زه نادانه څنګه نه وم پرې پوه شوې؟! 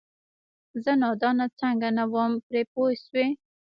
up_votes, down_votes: 1, 2